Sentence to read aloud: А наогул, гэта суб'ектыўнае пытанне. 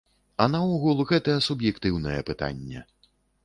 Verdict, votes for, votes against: accepted, 2, 0